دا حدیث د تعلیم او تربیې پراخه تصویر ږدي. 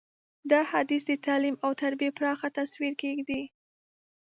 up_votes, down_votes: 0, 2